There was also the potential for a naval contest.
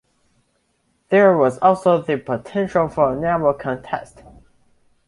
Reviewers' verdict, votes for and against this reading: accepted, 2, 0